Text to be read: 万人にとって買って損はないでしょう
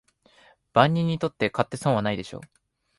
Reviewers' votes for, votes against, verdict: 2, 0, accepted